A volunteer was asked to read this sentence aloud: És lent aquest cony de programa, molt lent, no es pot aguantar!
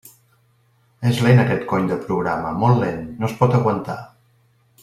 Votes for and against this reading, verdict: 2, 0, accepted